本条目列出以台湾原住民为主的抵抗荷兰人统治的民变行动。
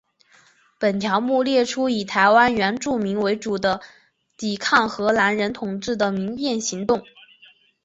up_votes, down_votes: 2, 0